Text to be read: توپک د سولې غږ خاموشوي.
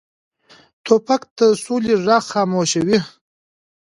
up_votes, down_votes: 2, 0